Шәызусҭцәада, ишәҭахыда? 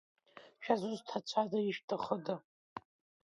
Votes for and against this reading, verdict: 2, 0, accepted